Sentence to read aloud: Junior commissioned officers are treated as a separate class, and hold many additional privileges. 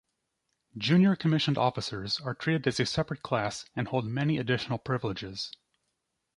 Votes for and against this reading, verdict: 2, 0, accepted